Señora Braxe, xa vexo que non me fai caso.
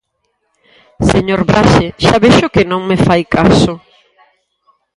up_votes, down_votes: 0, 4